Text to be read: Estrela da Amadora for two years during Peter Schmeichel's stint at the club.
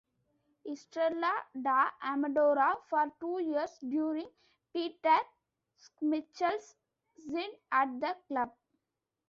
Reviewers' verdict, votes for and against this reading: rejected, 0, 2